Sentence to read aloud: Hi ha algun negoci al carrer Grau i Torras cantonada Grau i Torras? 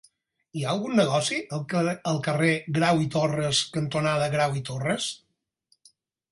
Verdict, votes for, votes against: accepted, 4, 2